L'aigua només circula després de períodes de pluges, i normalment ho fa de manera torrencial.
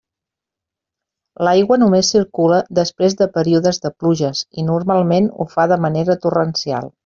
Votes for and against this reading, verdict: 2, 0, accepted